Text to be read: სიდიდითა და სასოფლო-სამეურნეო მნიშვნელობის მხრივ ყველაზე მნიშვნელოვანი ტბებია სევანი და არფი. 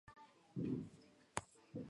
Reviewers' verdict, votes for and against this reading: rejected, 0, 2